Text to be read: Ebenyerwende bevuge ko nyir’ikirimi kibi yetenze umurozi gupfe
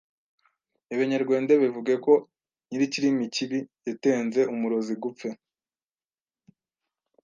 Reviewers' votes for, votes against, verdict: 1, 2, rejected